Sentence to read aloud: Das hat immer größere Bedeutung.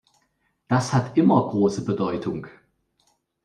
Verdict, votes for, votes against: rejected, 0, 2